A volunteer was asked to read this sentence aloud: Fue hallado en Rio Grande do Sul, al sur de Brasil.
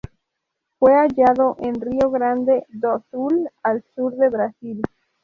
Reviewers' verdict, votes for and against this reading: accepted, 4, 0